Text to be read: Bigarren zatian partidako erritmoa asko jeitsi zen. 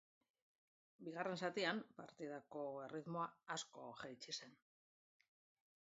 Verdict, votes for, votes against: rejected, 1, 2